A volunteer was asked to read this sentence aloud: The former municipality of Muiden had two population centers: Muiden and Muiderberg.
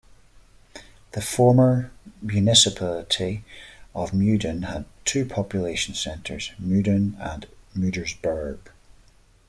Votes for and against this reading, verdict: 2, 0, accepted